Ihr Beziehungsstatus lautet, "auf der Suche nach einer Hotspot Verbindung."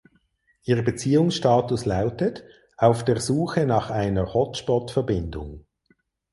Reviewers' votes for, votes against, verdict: 2, 4, rejected